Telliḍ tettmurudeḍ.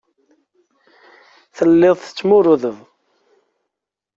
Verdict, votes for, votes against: accepted, 2, 0